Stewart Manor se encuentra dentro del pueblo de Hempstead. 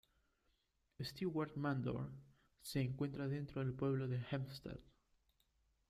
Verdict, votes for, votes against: rejected, 0, 2